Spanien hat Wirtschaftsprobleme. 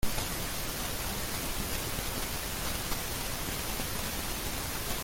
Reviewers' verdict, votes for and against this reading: rejected, 0, 2